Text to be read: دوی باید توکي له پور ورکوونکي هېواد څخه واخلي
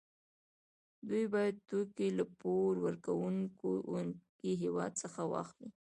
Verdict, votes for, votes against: accepted, 2, 0